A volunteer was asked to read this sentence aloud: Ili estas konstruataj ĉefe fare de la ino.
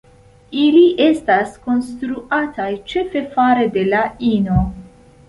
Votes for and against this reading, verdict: 2, 0, accepted